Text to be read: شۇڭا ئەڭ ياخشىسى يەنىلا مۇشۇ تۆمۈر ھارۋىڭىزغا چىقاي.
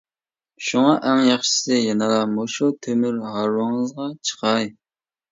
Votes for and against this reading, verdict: 2, 0, accepted